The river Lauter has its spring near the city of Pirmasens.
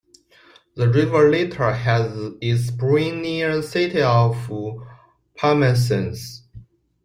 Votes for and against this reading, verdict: 0, 2, rejected